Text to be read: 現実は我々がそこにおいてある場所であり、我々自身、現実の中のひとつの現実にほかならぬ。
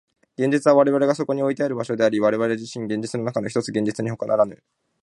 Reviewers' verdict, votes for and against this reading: rejected, 0, 2